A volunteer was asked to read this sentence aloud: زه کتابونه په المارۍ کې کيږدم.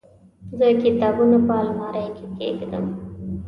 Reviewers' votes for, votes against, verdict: 2, 0, accepted